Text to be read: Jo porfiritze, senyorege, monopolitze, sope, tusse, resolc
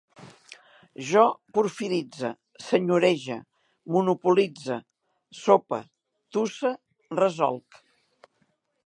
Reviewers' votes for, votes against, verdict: 2, 0, accepted